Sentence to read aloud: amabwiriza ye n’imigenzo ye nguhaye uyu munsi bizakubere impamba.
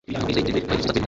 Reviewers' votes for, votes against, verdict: 1, 2, rejected